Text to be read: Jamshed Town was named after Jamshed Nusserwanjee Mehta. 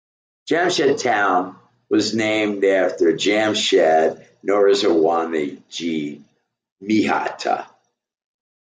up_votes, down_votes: 1, 2